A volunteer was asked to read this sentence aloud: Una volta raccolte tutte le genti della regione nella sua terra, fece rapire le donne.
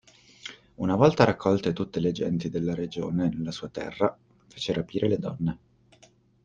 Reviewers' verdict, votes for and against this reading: accepted, 2, 0